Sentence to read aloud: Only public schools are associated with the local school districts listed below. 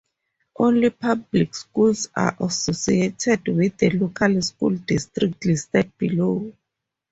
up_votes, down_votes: 0, 2